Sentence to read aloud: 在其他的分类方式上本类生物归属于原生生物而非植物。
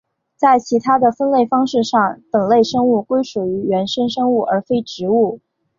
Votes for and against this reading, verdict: 2, 0, accepted